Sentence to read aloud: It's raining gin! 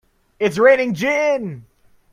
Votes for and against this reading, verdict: 2, 0, accepted